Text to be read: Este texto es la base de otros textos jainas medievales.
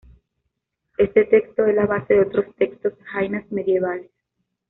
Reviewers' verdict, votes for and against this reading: accepted, 2, 0